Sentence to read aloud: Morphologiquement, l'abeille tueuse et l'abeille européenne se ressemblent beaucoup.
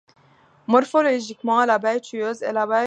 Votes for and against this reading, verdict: 0, 2, rejected